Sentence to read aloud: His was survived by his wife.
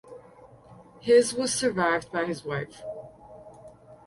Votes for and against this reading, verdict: 4, 0, accepted